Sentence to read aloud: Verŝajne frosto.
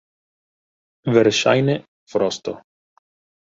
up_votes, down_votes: 1, 2